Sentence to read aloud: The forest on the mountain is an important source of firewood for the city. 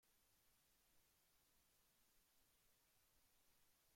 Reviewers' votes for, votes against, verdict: 0, 2, rejected